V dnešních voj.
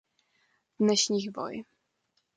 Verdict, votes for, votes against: accepted, 2, 0